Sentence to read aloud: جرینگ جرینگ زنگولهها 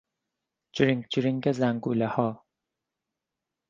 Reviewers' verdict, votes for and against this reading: accepted, 4, 0